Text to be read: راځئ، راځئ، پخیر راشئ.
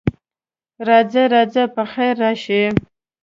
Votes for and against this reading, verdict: 1, 2, rejected